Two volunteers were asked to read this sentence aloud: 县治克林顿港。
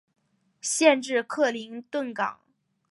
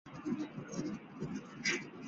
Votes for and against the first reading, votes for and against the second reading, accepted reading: 2, 1, 1, 4, first